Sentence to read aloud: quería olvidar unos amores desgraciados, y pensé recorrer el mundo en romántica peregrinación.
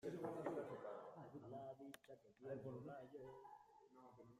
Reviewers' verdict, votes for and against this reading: rejected, 0, 2